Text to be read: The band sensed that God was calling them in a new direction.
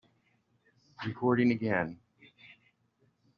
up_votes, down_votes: 0, 2